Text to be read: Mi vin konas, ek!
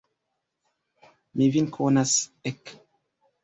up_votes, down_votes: 2, 1